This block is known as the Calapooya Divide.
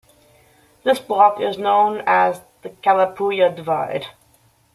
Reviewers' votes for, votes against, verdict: 2, 0, accepted